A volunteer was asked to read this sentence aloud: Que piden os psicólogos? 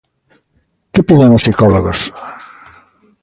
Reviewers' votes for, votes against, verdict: 2, 0, accepted